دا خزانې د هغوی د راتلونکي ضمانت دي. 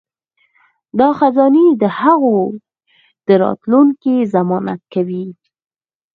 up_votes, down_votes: 4, 2